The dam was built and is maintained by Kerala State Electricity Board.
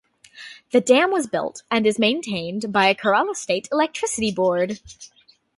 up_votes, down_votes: 2, 0